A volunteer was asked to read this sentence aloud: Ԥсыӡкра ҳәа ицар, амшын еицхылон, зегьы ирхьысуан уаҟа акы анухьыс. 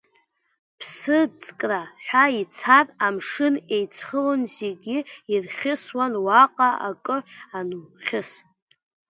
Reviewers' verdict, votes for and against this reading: accepted, 2, 1